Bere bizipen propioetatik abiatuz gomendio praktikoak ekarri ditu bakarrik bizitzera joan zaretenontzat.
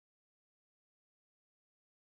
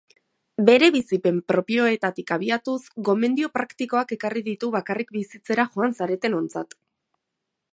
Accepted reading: second